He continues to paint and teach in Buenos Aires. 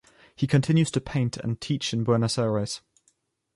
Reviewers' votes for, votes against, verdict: 2, 0, accepted